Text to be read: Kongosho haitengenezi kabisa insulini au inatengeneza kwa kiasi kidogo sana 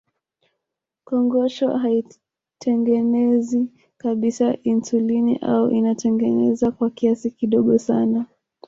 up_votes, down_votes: 1, 2